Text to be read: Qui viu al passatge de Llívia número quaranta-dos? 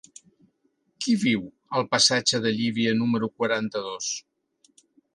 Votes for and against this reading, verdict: 3, 0, accepted